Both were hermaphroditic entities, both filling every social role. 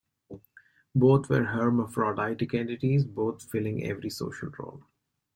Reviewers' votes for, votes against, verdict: 1, 2, rejected